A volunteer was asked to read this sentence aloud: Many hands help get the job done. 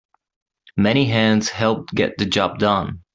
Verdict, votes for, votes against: accepted, 2, 1